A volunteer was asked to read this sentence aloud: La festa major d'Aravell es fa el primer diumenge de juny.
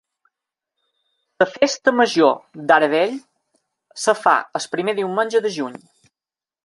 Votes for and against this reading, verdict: 2, 1, accepted